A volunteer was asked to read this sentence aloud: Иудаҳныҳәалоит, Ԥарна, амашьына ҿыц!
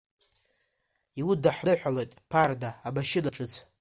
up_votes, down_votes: 0, 2